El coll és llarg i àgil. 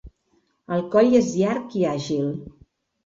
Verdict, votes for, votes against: accepted, 2, 0